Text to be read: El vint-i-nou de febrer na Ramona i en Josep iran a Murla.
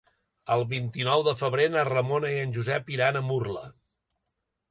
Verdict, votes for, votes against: accepted, 3, 0